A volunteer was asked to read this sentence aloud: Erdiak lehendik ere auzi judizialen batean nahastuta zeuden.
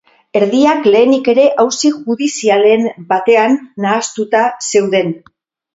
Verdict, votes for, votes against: rejected, 2, 2